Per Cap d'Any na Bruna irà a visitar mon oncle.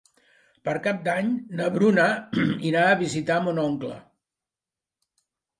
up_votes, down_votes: 1, 2